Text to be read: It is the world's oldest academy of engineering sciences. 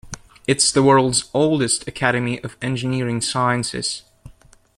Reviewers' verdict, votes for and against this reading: accepted, 2, 1